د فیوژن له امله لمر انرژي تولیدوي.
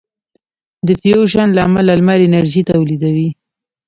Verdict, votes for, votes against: accepted, 2, 0